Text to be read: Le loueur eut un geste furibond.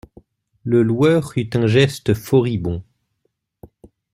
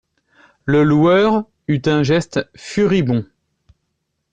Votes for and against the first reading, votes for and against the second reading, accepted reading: 0, 2, 2, 0, second